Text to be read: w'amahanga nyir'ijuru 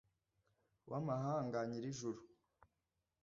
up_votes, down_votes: 0, 2